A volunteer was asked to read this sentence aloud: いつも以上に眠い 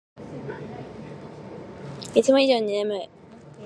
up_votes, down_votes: 1, 3